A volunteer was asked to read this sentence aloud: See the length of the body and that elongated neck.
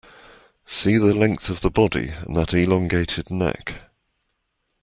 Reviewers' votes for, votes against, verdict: 2, 0, accepted